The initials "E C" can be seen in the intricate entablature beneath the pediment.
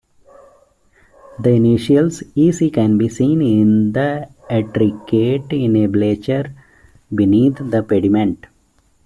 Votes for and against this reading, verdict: 0, 2, rejected